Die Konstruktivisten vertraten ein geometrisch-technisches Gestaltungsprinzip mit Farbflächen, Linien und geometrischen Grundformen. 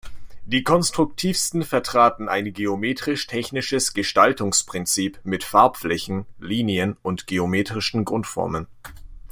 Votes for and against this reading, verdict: 1, 2, rejected